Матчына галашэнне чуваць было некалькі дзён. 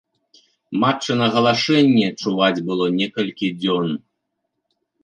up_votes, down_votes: 2, 0